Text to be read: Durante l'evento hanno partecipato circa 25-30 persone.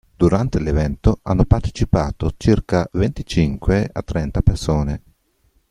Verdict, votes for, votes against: rejected, 0, 2